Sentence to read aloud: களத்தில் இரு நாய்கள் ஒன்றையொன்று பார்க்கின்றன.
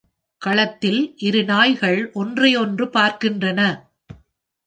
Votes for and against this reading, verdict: 2, 0, accepted